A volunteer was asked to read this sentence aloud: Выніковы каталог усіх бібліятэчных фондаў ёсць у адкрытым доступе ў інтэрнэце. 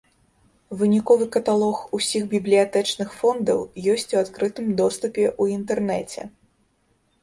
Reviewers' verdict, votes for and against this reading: accepted, 3, 0